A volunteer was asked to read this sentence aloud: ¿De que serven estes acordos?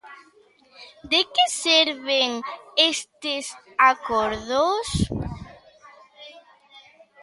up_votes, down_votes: 1, 2